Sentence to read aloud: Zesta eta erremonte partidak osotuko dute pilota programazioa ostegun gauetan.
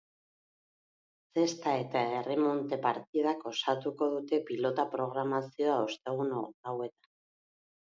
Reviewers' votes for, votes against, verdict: 1, 2, rejected